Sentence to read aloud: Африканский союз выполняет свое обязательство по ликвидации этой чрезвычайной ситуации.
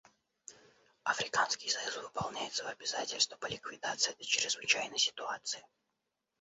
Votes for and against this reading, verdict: 1, 2, rejected